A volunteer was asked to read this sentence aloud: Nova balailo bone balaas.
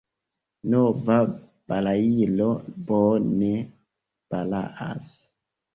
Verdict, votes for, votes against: rejected, 1, 2